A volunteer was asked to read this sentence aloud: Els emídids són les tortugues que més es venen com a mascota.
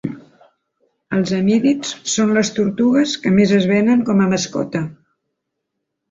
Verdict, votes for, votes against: accepted, 2, 0